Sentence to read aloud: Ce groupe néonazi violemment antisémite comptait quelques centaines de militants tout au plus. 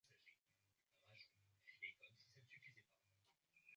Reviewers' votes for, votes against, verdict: 0, 2, rejected